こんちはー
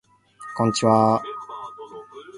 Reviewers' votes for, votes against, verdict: 2, 0, accepted